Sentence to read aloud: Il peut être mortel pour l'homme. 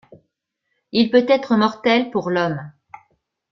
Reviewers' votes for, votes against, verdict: 3, 0, accepted